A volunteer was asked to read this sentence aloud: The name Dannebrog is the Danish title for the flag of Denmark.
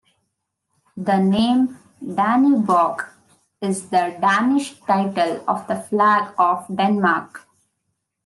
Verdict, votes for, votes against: rejected, 0, 2